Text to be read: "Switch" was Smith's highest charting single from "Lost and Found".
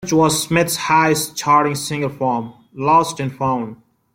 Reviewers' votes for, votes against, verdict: 0, 2, rejected